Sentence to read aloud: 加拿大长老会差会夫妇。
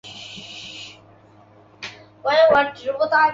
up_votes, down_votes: 0, 3